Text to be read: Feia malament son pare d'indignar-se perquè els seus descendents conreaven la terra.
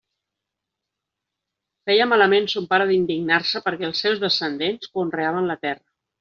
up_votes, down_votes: 0, 2